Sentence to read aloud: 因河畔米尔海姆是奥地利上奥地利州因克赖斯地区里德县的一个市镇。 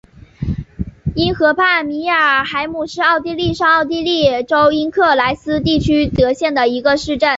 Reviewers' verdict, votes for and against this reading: accepted, 2, 0